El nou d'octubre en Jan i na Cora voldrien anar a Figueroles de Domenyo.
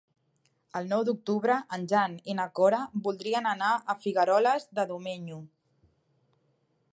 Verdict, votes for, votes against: accepted, 2, 0